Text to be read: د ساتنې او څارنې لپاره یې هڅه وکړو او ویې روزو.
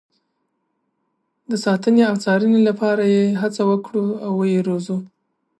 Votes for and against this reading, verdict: 0, 2, rejected